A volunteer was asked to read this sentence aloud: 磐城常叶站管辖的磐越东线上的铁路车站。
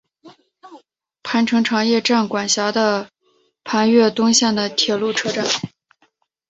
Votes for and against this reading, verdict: 3, 0, accepted